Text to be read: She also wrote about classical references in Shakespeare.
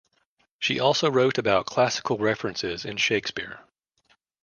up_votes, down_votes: 2, 0